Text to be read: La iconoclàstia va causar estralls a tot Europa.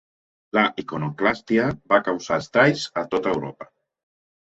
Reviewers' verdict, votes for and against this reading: accepted, 2, 1